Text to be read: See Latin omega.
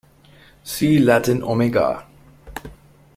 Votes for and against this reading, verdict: 2, 0, accepted